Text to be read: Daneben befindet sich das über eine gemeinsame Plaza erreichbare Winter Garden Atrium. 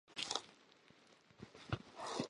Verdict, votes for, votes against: rejected, 0, 2